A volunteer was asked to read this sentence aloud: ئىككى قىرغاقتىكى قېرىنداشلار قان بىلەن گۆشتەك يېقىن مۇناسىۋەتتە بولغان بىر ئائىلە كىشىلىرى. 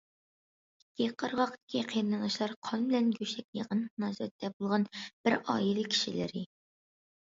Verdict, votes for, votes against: accepted, 2, 0